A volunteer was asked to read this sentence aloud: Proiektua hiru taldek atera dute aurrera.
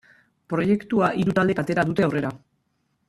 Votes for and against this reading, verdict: 0, 2, rejected